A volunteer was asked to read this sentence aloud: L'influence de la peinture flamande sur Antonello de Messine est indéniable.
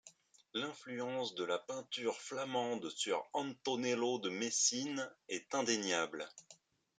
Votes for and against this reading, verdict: 2, 0, accepted